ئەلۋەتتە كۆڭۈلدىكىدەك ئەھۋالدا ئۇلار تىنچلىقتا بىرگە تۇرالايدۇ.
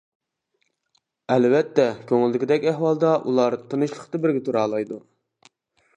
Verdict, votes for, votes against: accepted, 2, 0